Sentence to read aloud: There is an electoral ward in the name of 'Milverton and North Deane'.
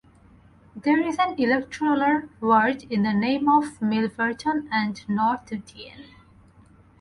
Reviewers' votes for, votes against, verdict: 0, 4, rejected